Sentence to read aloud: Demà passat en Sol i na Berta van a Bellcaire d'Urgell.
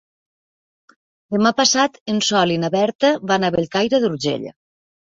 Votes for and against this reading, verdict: 2, 0, accepted